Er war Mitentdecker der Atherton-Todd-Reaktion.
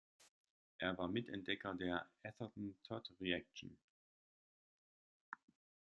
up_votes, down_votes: 1, 2